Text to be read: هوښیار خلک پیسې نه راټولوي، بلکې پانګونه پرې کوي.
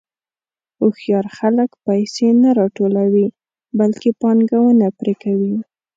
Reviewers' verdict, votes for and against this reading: rejected, 0, 2